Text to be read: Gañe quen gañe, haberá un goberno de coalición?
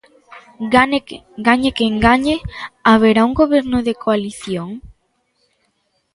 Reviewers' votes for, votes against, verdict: 0, 2, rejected